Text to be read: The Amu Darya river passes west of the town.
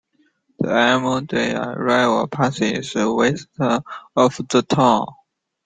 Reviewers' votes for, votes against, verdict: 0, 2, rejected